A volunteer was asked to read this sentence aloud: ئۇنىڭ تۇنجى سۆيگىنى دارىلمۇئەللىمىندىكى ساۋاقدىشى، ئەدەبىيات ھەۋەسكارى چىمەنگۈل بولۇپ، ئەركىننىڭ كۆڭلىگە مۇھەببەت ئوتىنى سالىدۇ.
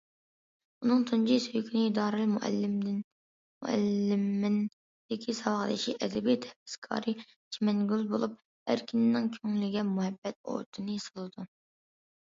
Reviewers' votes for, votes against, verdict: 0, 2, rejected